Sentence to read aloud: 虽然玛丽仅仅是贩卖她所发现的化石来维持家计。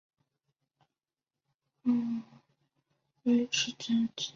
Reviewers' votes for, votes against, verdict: 0, 3, rejected